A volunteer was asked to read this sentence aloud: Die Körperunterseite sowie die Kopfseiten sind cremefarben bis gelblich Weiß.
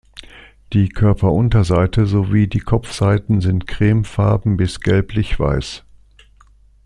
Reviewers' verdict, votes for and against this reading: accepted, 2, 0